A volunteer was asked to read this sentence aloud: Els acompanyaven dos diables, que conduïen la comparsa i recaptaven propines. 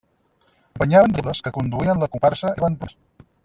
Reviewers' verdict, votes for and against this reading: rejected, 0, 4